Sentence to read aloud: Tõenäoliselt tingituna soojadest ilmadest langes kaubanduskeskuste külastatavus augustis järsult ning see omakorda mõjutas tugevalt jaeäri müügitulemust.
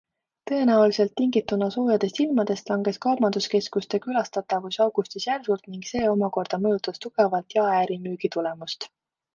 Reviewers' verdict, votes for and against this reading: accepted, 2, 0